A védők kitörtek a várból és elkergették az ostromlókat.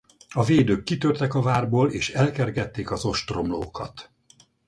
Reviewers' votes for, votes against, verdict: 4, 0, accepted